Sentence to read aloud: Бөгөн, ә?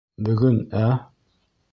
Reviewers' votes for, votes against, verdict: 2, 1, accepted